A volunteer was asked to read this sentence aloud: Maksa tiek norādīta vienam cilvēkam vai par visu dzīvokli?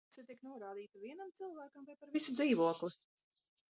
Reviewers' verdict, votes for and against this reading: rejected, 0, 2